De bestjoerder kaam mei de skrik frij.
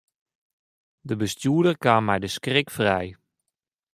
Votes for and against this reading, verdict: 0, 2, rejected